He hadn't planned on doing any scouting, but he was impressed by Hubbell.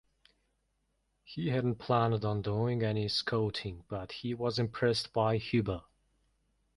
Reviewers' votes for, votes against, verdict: 2, 0, accepted